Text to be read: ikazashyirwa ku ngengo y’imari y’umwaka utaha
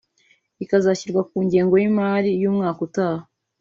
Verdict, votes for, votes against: accepted, 2, 0